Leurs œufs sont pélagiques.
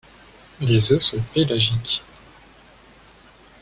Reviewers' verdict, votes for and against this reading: rejected, 1, 2